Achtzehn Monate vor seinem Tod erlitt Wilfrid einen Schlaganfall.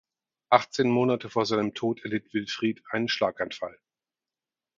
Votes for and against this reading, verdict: 4, 0, accepted